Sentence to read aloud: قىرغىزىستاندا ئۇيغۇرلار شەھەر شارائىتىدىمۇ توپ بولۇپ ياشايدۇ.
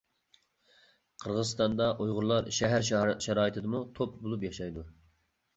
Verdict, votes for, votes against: rejected, 1, 2